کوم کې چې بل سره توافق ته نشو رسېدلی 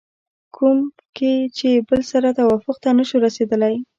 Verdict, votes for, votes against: rejected, 0, 2